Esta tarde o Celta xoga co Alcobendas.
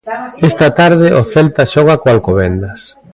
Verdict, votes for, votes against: rejected, 1, 2